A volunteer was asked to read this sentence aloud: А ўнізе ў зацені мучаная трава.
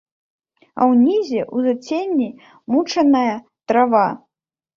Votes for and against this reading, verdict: 1, 2, rejected